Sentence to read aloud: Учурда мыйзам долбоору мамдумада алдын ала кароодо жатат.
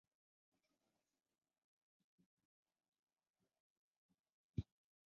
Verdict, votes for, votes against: accepted, 2, 1